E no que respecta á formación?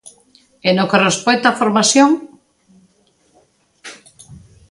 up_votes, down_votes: 2, 0